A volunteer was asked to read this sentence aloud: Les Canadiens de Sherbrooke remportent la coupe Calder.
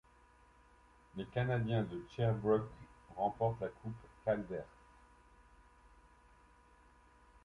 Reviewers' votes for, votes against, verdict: 2, 0, accepted